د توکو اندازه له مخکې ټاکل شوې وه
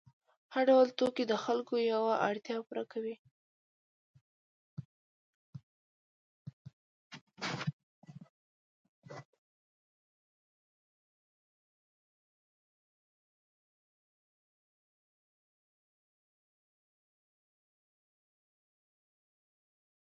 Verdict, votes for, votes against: rejected, 0, 2